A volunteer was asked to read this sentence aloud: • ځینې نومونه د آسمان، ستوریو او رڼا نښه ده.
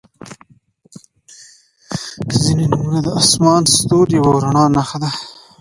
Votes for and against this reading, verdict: 2, 0, accepted